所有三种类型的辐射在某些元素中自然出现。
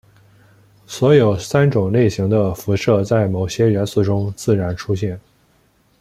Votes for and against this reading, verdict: 2, 0, accepted